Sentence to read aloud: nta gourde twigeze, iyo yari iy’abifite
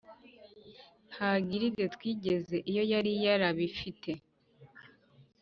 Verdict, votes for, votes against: rejected, 1, 2